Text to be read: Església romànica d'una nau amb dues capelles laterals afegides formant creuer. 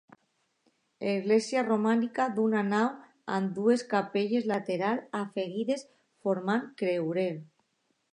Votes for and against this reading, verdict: 0, 2, rejected